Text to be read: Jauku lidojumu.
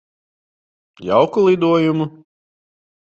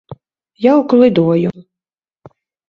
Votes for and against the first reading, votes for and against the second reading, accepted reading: 2, 0, 1, 2, first